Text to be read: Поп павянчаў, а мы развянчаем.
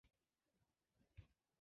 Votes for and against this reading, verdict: 0, 2, rejected